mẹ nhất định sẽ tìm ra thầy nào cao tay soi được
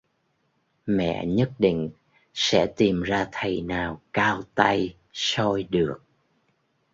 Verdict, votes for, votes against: accepted, 2, 0